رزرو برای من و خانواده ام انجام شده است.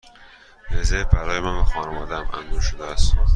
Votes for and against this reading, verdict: 2, 0, accepted